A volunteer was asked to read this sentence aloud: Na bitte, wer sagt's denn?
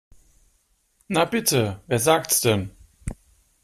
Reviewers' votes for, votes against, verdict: 2, 0, accepted